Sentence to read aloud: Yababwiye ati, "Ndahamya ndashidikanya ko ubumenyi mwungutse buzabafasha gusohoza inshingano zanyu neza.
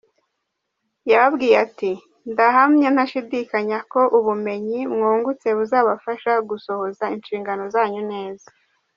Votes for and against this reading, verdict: 1, 2, rejected